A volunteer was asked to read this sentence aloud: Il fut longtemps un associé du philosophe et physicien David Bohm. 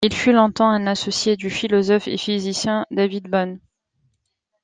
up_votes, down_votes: 2, 0